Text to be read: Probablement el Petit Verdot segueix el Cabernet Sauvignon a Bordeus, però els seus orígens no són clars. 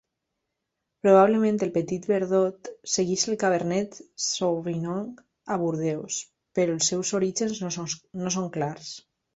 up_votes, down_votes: 0, 2